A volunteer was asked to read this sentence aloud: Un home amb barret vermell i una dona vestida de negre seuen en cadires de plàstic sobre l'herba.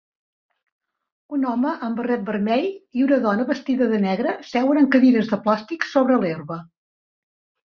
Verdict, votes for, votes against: accepted, 2, 0